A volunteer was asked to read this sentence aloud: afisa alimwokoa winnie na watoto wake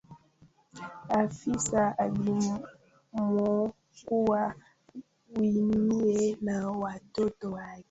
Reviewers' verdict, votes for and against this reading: rejected, 0, 2